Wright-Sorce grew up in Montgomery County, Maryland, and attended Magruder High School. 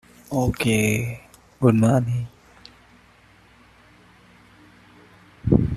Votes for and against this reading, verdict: 0, 2, rejected